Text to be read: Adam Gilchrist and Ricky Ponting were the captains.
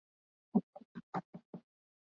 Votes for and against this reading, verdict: 0, 2, rejected